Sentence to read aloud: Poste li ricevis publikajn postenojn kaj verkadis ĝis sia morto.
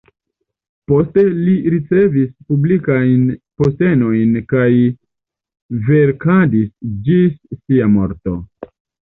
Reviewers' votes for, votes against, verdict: 2, 1, accepted